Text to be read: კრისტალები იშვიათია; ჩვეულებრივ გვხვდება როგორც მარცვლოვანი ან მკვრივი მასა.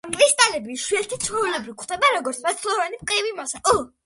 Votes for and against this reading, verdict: 1, 2, rejected